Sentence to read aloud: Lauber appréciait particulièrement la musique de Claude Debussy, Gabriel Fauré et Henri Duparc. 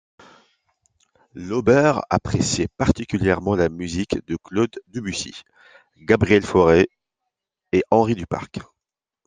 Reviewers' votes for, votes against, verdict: 2, 0, accepted